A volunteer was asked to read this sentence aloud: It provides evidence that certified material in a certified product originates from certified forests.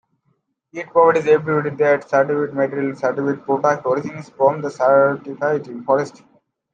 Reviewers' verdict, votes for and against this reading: rejected, 0, 2